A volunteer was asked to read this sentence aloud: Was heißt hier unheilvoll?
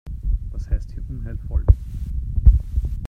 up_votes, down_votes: 0, 2